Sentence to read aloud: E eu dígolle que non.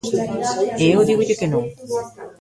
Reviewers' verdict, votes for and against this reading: rejected, 1, 2